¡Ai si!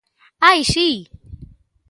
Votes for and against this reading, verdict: 2, 0, accepted